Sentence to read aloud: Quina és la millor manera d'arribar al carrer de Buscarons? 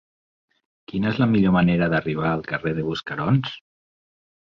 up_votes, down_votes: 3, 0